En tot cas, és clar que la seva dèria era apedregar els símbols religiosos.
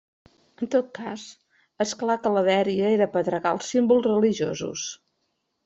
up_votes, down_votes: 0, 2